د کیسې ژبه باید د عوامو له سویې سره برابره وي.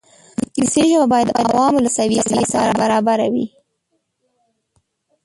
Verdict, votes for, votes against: rejected, 0, 2